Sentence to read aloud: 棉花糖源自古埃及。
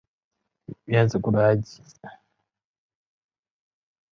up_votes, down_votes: 0, 2